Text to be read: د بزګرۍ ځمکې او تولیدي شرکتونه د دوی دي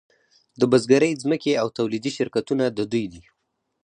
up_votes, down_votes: 4, 0